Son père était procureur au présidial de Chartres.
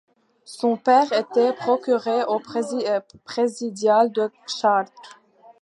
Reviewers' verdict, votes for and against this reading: rejected, 0, 2